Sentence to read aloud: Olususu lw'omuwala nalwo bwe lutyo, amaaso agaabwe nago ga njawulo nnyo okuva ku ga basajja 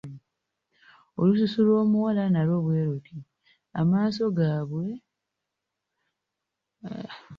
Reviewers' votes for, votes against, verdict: 1, 2, rejected